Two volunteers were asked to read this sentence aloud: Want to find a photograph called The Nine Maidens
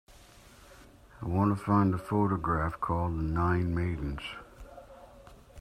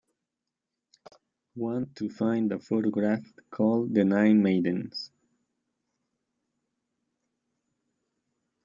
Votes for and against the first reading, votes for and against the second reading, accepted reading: 0, 2, 2, 0, second